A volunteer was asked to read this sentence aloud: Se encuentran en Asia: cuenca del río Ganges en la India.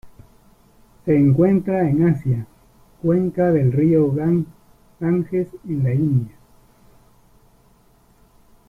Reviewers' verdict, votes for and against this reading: rejected, 0, 2